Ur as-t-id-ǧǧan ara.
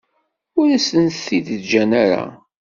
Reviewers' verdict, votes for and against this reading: rejected, 0, 2